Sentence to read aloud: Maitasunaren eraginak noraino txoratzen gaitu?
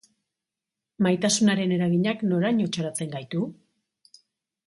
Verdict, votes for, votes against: accepted, 4, 0